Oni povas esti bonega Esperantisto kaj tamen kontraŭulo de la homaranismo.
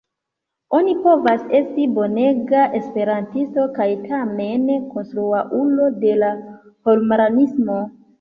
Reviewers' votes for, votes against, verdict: 0, 2, rejected